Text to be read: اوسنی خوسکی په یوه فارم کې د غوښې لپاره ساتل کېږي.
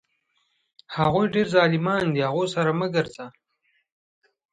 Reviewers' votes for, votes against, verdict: 1, 2, rejected